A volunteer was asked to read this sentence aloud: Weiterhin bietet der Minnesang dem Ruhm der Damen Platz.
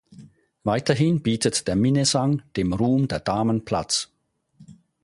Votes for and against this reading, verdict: 4, 0, accepted